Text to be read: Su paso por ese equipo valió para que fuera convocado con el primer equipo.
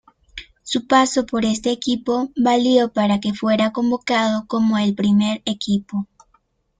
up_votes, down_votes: 1, 2